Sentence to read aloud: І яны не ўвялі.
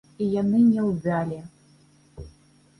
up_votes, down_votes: 1, 3